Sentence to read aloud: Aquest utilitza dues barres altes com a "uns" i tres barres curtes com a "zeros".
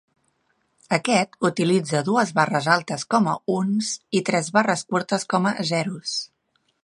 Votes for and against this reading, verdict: 2, 1, accepted